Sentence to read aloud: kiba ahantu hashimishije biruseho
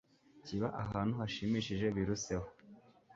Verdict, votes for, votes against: accepted, 2, 0